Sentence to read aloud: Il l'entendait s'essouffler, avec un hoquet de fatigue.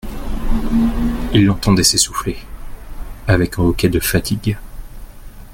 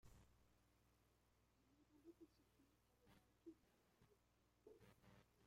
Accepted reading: first